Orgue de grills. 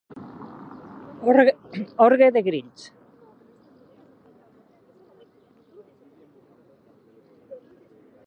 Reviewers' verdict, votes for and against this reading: rejected, 0, 2